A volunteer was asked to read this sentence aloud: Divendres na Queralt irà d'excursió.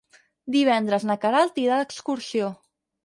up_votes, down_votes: 4, 0